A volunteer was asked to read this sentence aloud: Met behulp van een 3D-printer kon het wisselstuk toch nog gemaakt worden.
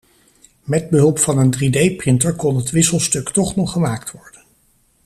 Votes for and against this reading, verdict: 0, 2, rejected